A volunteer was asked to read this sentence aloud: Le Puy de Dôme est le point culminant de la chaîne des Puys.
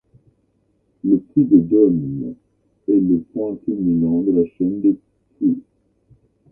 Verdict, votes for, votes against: rejected, 1, 2